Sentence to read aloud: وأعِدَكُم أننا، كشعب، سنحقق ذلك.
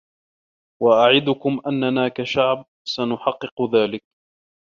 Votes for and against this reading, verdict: 1, 2, rejected